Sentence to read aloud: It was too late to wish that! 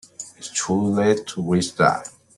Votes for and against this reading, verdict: 0, 2, rejected